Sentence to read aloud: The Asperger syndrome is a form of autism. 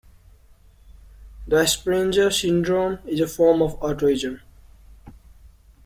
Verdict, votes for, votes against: rejected, 0, 2